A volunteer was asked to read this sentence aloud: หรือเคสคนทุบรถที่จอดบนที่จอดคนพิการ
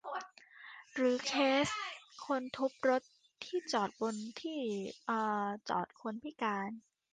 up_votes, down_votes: 0, 2